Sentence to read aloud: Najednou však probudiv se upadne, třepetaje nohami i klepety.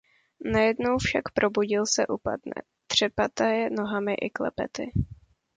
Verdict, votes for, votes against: rejected, 0, 2